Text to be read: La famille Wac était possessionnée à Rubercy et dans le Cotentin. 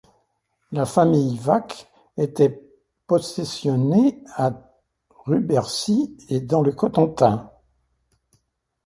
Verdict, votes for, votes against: accepted, 2, 0